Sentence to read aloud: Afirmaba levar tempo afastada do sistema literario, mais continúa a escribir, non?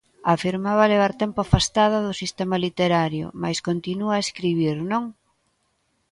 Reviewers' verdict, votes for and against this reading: accepted, 2, 0